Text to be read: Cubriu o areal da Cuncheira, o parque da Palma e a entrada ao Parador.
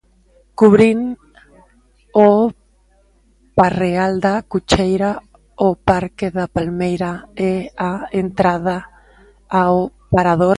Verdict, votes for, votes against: rejected, 0, 2